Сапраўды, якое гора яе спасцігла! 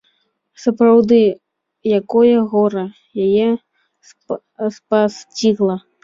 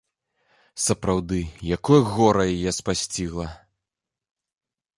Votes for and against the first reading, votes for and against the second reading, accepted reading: 1, 2, 2, 0, second